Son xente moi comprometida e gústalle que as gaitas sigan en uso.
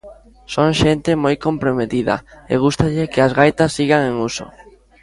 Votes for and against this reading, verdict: 2, 0, accepted